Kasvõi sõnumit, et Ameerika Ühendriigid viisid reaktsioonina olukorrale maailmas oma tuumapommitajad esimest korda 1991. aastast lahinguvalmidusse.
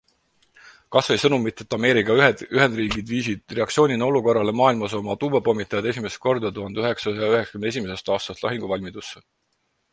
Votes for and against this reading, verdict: 0, 2, rejected